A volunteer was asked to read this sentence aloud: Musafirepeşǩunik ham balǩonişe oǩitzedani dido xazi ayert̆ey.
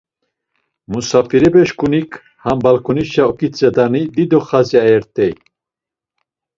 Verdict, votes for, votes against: accepted, 2, 0